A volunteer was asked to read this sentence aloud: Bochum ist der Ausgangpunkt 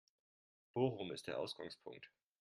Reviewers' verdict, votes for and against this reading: accepted, 3, 0